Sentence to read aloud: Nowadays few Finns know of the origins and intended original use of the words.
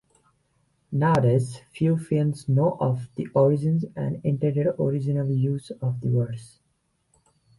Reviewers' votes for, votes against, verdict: 2, 0, accepted